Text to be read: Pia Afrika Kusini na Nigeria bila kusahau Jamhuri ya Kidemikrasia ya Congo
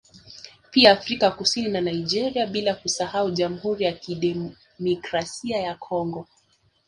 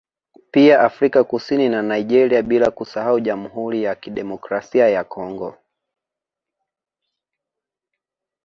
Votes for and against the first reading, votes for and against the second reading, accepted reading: 2, 0, 0, 2, first